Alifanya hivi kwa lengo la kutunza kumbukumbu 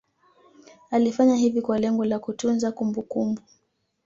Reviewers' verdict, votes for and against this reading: accepted, 2, 0